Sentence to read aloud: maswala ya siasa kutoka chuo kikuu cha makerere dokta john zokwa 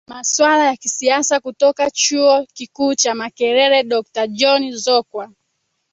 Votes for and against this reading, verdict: 1, 2, rejected